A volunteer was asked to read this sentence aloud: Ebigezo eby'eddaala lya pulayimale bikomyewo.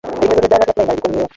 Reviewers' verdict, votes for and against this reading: rejected, 0, 4